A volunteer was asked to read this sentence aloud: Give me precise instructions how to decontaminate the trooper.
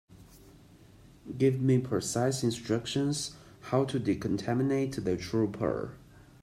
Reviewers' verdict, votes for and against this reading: accepted, 2, 0